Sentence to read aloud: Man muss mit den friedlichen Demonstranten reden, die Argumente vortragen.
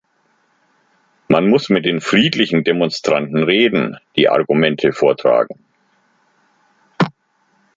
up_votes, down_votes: 2, 0